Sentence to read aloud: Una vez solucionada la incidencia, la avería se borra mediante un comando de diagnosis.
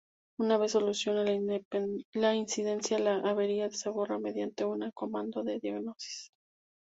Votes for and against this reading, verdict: 0, 2, rejected